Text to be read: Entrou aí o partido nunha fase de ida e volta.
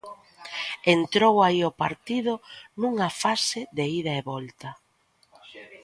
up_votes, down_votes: 2, 0